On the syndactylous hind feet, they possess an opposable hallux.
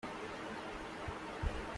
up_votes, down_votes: 0, 2